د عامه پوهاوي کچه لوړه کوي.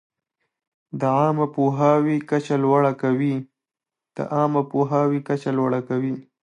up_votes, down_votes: 1, 2